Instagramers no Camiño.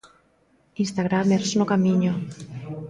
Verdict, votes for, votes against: rejected, 1, 2